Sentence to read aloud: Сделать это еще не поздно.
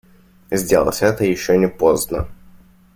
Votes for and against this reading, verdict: 2, 0, accepted